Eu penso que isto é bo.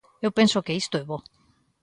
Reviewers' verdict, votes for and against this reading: accepted, 2, 0